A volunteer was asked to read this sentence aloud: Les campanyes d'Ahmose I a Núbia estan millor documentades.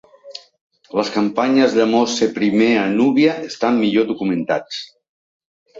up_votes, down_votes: 0, 3